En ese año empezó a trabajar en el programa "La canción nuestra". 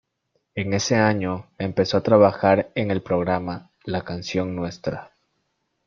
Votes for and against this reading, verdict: 2, 0, accepted